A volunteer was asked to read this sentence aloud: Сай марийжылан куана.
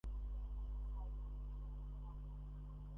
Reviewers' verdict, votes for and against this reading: rejected, 0, 2